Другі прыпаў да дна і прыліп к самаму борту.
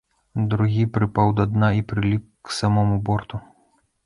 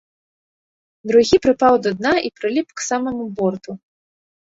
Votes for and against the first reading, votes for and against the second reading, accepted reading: 1, 2, 2, 0, second